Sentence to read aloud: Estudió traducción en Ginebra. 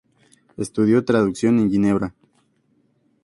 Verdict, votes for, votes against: accepted, 2, 0